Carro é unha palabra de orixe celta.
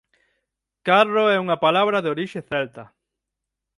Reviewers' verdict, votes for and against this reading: accepted, 6, 0